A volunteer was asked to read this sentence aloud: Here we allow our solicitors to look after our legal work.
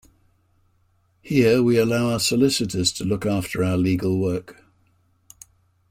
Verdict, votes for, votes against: accepted, 2, 1